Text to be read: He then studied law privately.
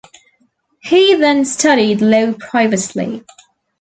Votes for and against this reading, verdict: 0, 2, rejected